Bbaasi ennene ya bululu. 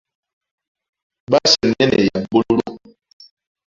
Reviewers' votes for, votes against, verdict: 0, 2, rejected